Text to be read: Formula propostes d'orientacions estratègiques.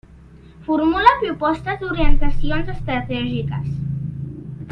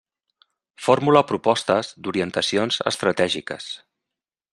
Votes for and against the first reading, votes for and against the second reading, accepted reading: 2, 0, 0, 2, first